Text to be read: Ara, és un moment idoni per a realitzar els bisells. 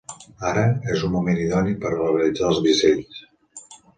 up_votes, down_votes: 1, 2